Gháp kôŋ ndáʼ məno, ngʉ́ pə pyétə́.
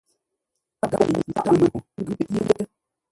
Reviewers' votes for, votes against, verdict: 0, 2, rejected